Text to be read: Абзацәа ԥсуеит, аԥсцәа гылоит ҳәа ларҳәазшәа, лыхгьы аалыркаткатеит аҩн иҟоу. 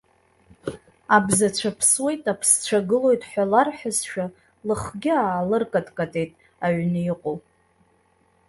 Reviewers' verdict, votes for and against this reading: accepted, 2, 0